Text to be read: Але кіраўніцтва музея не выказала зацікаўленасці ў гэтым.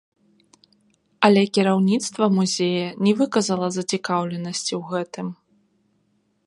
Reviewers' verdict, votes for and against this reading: rejected, 0, 2